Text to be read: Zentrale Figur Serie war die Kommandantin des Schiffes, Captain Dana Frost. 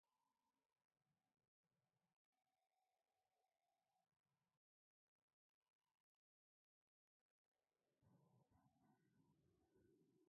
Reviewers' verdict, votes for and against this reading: rejected, 0, 2